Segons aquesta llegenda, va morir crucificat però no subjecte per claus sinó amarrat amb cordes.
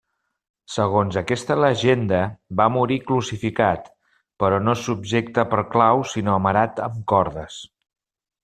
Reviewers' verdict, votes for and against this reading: rejected, 1, 2